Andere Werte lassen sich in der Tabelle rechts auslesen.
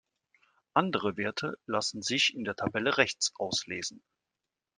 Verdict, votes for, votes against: accepted, 2, 0